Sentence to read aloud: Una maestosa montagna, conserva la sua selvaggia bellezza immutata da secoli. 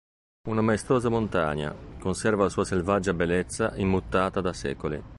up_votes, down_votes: 1, 2